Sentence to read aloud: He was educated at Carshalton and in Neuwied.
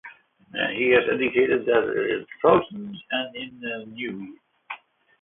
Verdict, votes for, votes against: rejected, 0, 2